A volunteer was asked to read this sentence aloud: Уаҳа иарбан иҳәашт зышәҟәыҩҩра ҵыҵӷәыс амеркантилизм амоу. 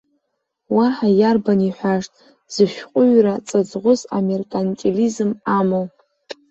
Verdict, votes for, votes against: accepted, 2, 1